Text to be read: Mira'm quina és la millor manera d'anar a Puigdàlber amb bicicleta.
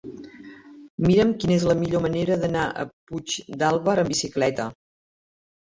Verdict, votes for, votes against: accepted, 2, 0